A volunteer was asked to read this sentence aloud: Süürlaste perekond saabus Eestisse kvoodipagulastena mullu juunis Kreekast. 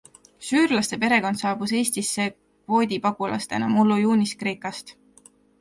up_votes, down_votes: 2, 0